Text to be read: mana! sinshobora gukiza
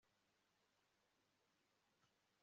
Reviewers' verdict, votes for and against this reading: rejected, 0, 2